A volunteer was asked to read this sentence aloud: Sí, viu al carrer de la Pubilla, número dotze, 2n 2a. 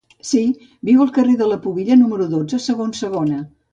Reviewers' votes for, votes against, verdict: 0, 2, rejected